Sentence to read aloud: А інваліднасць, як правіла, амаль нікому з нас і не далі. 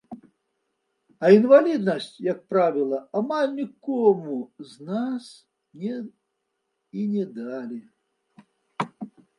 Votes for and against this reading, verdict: 1, 2, rejected